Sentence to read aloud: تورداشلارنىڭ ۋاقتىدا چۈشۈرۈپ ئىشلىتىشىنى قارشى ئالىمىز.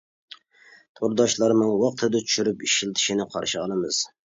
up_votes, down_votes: 2, 0